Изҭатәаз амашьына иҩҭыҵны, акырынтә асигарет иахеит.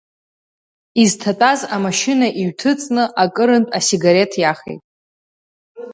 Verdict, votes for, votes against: rejected, 0, 2